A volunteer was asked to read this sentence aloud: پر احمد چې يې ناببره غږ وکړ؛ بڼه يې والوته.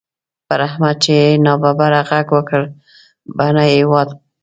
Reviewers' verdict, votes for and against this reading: rejected, 1, 2